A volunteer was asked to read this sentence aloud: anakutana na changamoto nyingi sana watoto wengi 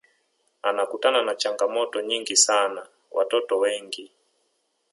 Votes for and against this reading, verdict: 3, 0, accepted